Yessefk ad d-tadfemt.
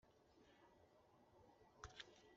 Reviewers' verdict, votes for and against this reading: rejected, 0, 2